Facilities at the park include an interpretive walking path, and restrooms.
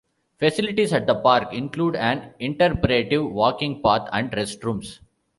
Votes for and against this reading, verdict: 2, 1, accepted